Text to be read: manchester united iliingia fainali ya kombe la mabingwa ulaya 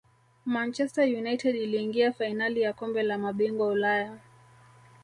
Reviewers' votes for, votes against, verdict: 0, 2, rejected